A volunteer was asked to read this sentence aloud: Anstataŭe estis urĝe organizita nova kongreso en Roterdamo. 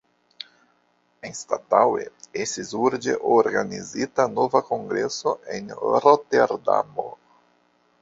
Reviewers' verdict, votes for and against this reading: accepted, 2, 1